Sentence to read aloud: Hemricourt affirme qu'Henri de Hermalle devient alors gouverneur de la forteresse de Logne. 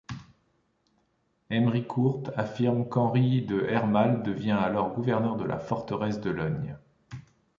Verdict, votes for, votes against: rejected, 1, 2